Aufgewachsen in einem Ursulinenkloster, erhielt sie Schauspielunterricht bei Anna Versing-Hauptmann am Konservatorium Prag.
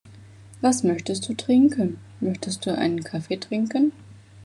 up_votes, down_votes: 0, 2